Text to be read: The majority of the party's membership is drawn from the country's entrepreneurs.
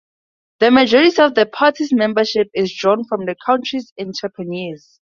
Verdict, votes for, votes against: accepted, 4, 0